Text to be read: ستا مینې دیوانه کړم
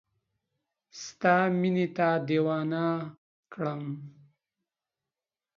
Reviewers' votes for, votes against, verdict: 0, 2, rejected